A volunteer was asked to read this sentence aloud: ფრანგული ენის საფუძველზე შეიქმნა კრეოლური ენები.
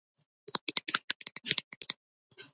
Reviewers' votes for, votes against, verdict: 0, 2, rejected